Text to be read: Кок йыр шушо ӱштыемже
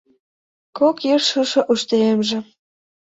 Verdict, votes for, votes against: rejected, 0, 2